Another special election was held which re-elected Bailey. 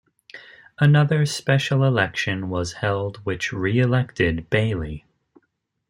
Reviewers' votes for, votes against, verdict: 2, 0, accepted